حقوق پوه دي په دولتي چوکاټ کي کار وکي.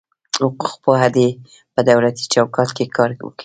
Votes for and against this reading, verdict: 1, 3, rejected